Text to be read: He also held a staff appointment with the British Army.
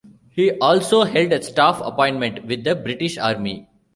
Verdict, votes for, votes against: accepted, 3, 0